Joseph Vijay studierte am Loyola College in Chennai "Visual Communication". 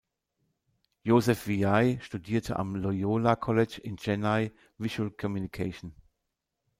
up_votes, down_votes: 2, 0